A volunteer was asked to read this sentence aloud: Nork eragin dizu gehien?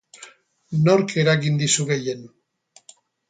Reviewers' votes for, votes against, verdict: 2, 0, accepted